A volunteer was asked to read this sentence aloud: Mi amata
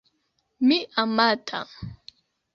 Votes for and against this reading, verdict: 2, 0, accepted